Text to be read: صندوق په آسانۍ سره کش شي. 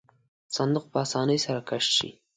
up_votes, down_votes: 2, 0